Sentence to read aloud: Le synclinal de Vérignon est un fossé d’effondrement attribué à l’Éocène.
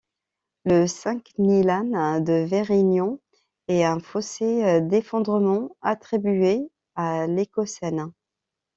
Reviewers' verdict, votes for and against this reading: rejected, 0, 2